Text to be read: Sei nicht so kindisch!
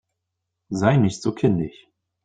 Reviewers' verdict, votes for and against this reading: rejected, 0, 2